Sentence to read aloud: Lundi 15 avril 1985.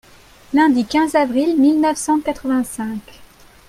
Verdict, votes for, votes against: rejected, 0, 2